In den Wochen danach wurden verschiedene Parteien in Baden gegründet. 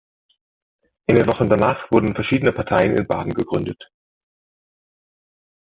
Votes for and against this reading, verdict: 2, 0, accepted